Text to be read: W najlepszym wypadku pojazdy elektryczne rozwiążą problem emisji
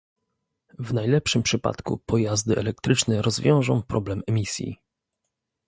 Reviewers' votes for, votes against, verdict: 0, 2, rejected